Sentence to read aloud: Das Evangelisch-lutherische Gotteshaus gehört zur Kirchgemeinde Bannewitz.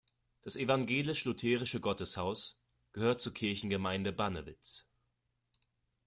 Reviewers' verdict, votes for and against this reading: accepted, 2, 0